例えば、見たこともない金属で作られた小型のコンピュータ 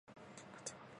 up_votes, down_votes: 0, 2